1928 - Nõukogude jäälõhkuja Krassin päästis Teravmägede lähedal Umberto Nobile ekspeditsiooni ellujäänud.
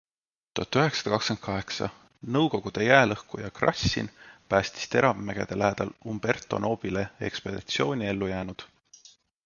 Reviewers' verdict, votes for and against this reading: rejected, 0, 2